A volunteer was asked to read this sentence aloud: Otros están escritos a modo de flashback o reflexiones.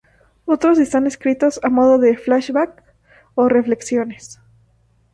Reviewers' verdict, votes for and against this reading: rejected, 2, 2